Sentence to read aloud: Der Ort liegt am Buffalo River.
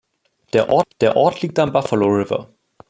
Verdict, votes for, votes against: rejected, 0, 2